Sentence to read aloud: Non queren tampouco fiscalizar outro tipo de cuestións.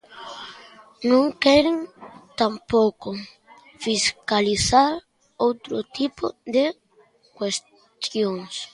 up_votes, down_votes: 1, 2